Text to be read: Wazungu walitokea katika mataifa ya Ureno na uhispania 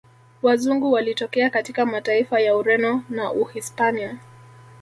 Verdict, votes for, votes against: accepted, 2, 0